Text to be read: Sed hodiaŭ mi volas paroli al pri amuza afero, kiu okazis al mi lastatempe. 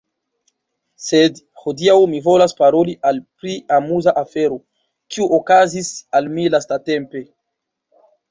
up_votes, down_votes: 1, 2